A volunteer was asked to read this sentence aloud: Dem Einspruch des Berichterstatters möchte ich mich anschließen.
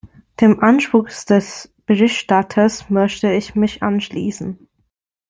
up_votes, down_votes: 0, 2